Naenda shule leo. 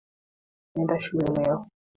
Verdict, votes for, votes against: accepted, 2, 1